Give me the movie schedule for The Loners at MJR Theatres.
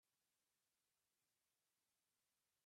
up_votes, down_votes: 0, 2